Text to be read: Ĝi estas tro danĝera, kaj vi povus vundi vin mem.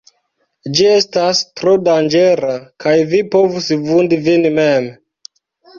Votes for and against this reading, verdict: 4, 0, accepted